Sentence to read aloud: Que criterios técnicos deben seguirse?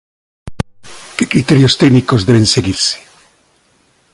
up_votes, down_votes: 2, 0